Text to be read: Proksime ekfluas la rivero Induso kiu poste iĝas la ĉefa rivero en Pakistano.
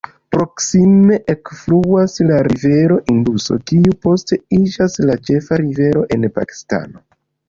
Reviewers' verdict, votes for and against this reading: rejected, 1, 2